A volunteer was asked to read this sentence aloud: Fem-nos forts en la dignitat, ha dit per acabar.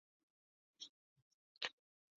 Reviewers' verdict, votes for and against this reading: rejected, 0, 2